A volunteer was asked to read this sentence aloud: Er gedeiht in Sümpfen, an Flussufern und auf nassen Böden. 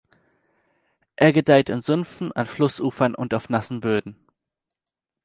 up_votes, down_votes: 2, 0